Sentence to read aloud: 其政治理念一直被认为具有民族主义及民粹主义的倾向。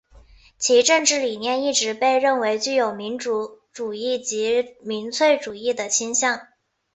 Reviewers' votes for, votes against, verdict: 3, 0, accepted